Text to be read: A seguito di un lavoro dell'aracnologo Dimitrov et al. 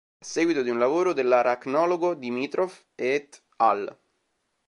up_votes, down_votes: 0, 2